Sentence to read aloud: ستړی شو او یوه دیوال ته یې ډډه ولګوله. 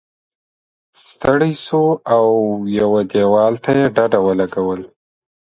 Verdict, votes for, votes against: rejected, 1, 2